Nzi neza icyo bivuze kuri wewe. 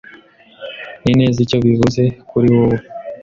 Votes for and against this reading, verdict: 1, 2, rejected